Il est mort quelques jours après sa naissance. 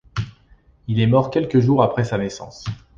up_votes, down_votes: 2, 0